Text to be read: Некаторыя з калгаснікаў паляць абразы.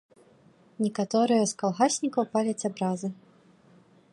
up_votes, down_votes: 1, 2